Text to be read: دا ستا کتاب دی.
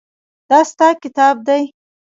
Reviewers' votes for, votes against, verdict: 1, 2, rejected